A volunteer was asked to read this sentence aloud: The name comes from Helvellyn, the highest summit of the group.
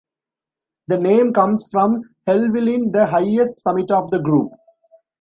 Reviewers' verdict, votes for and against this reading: accepted, 2, 0